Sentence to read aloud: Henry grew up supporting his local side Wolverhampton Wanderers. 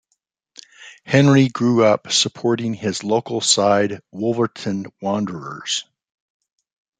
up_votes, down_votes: 2, 1